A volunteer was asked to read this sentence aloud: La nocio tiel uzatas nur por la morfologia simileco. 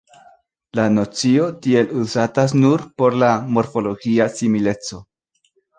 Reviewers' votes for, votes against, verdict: 2, 0, accepted